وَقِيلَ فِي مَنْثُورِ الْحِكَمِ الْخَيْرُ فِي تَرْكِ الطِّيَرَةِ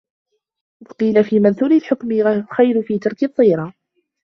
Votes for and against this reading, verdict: 0, 2, rejected